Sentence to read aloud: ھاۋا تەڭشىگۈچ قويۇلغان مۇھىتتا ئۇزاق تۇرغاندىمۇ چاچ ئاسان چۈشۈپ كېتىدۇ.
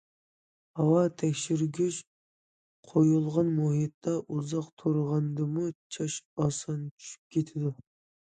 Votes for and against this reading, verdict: 0, 2, rejected